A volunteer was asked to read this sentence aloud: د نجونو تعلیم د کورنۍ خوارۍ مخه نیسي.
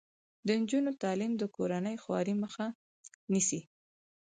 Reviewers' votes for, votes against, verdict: 4, 2, accepted